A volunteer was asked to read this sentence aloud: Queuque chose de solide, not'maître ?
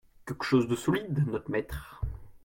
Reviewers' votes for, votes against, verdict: 2, 0, accepted